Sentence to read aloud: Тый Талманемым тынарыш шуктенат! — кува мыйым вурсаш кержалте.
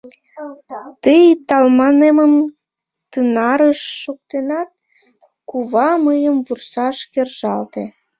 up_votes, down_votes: 0, 2